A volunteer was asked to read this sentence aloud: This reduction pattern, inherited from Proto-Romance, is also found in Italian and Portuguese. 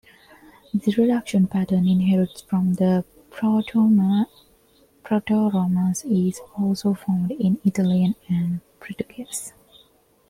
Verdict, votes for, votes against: rejected, 0, 2